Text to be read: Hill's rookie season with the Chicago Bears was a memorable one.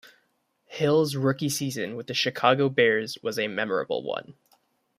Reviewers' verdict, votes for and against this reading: rejected, 1, 2